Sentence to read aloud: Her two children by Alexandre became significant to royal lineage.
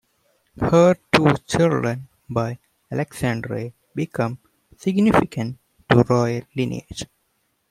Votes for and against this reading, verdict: 2, 1, accepted